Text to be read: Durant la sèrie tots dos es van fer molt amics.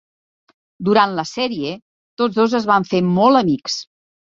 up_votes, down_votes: 3, 0